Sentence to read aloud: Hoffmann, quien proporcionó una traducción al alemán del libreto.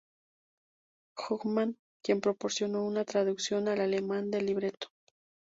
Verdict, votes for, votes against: rejected, 0, 2